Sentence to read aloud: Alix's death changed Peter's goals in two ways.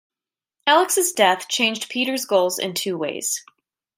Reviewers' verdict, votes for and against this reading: rejected, 0, 2